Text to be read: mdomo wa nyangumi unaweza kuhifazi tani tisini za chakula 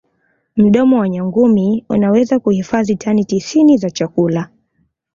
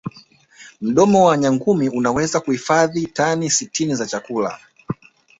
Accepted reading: first